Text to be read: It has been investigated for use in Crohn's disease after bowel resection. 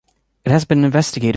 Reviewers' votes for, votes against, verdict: 2, 1, accepted